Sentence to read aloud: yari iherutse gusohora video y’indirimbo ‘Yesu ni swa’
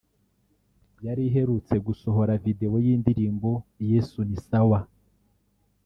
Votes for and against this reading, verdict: 0, 2, rejected